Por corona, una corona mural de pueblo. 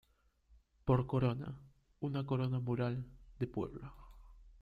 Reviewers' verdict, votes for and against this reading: accepted, 2, 0